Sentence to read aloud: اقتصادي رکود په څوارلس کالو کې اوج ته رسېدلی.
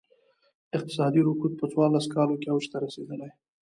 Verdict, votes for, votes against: accepted, 2, 0